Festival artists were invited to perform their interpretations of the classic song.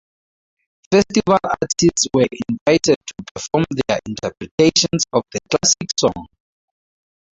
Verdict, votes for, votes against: rejected, 0, 2